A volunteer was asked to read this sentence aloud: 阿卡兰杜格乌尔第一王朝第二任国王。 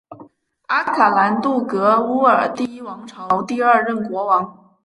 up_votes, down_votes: 4, 0